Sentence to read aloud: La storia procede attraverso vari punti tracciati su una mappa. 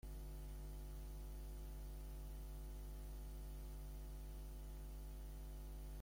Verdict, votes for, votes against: rejected, 0, 2